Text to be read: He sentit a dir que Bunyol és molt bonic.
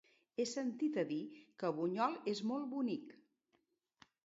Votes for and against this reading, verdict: 2, 0, accepted